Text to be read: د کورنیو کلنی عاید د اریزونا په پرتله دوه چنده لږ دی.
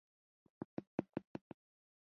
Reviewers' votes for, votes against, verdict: 0, 2, rejected